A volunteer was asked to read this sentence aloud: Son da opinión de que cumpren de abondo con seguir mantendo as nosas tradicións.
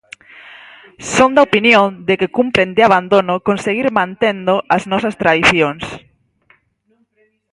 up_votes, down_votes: 0, 4